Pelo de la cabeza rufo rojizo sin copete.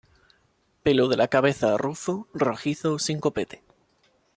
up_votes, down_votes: 1, 2